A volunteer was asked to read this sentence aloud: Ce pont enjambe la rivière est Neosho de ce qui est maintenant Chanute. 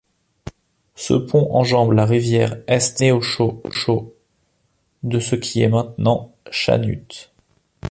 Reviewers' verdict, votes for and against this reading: rejected, 0, 2